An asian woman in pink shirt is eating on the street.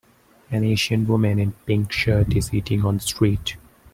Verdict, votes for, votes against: accepted, 2, 0